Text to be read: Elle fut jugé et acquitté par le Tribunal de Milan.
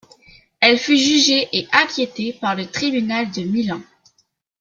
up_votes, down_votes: 1, 2